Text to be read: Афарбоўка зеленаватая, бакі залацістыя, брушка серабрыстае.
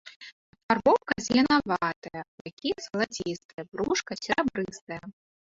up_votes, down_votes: 1, 2